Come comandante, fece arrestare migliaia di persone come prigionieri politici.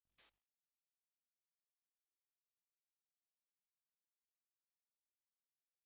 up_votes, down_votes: 0, 2